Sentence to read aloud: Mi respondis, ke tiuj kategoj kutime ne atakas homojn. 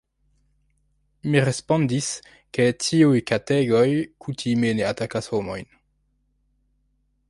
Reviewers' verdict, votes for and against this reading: rejected, 1, 2